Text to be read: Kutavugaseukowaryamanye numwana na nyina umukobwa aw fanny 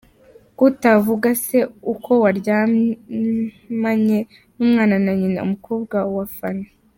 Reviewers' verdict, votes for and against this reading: rejected, 1, 2